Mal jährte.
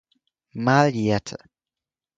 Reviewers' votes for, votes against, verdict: 4, 0, accepted